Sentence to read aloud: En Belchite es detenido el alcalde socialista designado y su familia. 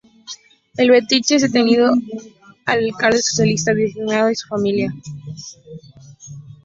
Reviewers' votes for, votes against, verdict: 2, 0, accepted